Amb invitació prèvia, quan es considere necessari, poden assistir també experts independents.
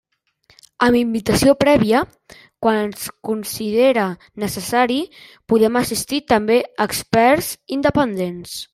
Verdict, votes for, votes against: rejected, 0, 2